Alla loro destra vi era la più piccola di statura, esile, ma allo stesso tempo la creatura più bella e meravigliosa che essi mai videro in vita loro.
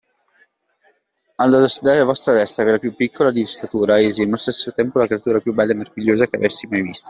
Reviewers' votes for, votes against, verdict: 0, 2, rejected